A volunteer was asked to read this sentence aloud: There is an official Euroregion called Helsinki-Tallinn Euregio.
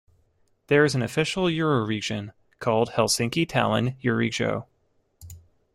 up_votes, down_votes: 2, 0